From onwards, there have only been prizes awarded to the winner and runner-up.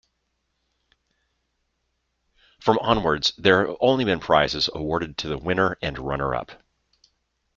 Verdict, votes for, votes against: rejected, 1, 2